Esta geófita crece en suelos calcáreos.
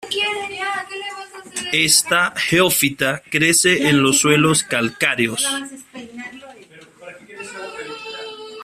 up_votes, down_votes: 1, 2